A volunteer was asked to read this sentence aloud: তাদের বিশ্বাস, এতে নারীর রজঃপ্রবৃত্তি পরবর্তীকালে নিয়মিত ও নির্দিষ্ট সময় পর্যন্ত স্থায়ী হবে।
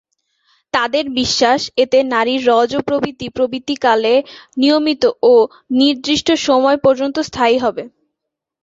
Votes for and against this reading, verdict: 2, 3, rejected